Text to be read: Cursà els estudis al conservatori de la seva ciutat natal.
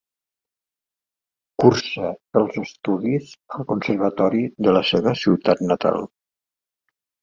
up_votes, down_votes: 1, 2